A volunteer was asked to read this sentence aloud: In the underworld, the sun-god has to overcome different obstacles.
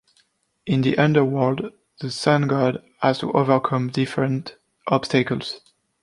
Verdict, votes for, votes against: accepted, 2, 1